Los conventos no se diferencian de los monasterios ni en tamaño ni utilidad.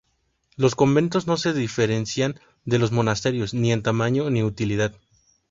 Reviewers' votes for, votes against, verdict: 2, 0, accepted